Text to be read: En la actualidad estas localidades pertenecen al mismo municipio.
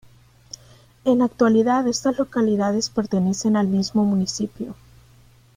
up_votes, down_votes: 2, 0